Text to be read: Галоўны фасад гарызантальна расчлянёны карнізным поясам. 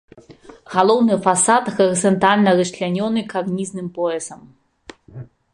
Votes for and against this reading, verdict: 2, 0, accepted